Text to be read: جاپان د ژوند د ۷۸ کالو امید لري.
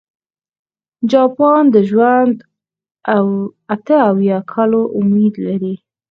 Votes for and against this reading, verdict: 0, 2, rejected